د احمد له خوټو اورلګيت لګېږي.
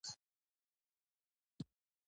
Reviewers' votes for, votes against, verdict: 1, 2, rejected